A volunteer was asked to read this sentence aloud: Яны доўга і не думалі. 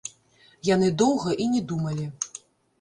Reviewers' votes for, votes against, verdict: 0, 2, rejected